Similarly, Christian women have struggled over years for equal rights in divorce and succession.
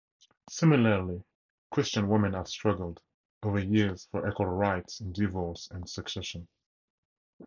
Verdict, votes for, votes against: accepted, 2, 0